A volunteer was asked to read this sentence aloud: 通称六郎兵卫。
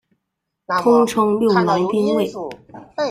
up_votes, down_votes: 0, 2